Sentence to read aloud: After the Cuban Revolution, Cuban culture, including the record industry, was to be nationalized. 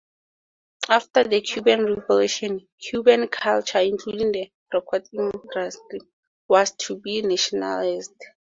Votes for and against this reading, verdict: 0, 2, rejected